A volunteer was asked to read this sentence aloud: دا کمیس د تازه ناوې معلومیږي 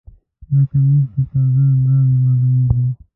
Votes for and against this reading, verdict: 1, 2, rejected